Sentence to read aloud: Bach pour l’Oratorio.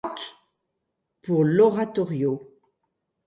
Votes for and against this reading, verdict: 1, 2, rejected